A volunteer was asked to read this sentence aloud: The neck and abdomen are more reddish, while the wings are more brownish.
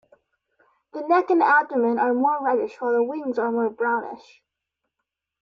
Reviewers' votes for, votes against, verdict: 1, 2, rejected